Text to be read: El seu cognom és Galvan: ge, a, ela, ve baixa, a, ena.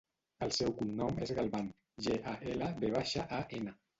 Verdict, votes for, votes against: rejected, 0, 2